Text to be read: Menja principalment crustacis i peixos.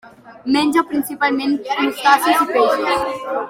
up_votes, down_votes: 2, 1